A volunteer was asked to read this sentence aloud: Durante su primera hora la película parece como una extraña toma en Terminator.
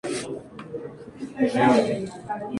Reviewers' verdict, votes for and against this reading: rejected, 0, 2